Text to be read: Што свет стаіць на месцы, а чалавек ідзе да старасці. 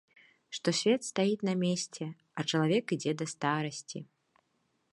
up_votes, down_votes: 0, 2